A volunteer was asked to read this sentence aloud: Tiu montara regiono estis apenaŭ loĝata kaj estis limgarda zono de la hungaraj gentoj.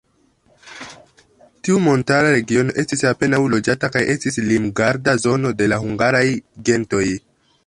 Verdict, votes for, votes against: rejected, 1, 2